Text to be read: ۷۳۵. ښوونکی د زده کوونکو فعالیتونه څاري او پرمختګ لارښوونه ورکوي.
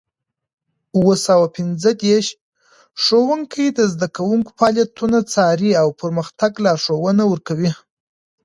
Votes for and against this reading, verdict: 0, 2, rejected